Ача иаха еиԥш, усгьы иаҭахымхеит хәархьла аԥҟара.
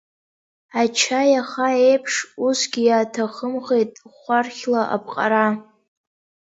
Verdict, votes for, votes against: accepted, 2, 0